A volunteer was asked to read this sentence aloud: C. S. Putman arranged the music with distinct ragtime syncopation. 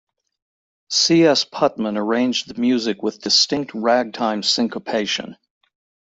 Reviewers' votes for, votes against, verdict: 2, 0, accepted